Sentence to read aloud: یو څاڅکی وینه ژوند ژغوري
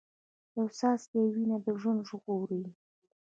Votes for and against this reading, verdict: 2, 0, accepted